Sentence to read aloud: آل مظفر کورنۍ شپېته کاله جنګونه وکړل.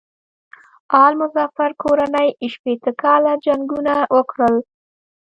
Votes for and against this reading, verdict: 1, 2, rejected